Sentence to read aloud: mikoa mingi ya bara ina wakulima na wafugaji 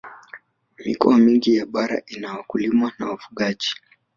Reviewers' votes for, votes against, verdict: 0, 2, rejected